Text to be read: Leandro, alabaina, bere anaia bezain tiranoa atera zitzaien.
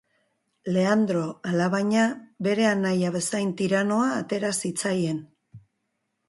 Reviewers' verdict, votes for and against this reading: accepted, 3, 0